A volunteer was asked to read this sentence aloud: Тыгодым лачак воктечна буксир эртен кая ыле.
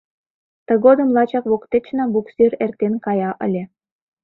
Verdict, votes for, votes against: accepted, 2, 0